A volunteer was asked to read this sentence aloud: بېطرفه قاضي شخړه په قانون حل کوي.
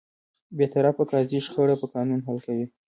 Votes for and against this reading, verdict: 2, 1, accepted